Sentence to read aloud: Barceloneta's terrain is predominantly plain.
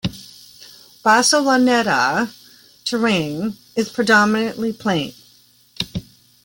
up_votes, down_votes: 0, 2